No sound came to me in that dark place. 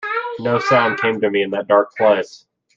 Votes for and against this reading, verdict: 0, 2, rejected